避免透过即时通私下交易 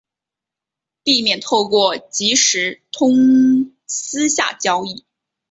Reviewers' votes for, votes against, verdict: 2, 0, accepted